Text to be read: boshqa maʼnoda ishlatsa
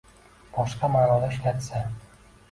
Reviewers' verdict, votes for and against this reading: rejected, 0, 2